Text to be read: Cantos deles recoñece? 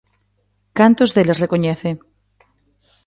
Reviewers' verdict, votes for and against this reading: accepted, 2, 0